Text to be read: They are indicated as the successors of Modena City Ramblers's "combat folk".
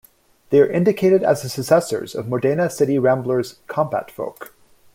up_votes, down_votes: 0, 2